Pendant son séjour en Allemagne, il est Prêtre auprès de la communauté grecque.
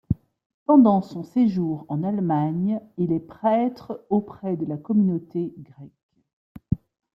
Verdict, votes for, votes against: rejected, 1, 2